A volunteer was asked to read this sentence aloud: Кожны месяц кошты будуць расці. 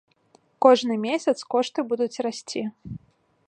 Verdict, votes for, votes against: accepted, 2, 0